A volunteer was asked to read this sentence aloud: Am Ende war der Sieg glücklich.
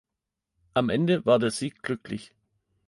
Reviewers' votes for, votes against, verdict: 2, 0, accepted